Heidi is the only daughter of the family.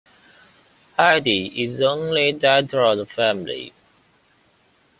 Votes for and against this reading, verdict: 2, 0, accepted